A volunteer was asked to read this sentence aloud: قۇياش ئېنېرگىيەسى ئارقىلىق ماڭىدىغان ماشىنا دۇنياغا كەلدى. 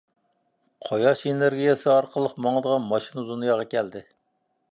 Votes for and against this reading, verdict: 2, 0, accepted